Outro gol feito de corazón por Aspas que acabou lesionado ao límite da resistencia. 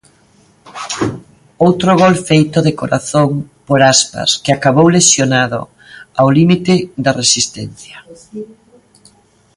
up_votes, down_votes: 2, 0